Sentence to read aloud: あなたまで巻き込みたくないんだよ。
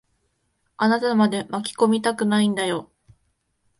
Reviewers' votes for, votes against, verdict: 2, 0, accepted